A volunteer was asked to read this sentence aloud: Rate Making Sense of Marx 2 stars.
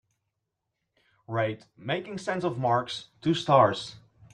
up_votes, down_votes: 0, 2